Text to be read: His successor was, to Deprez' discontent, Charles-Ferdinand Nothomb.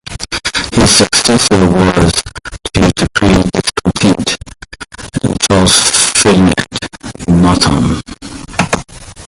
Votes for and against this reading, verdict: 1, 2, rejected